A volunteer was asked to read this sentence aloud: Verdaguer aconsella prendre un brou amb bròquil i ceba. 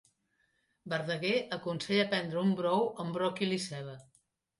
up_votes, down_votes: 2, 0